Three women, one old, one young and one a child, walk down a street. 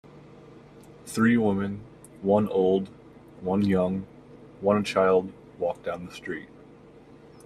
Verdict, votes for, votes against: rejected, 1, 2